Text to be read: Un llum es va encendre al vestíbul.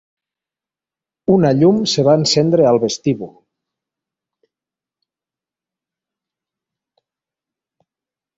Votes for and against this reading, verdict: 0, 2, rejected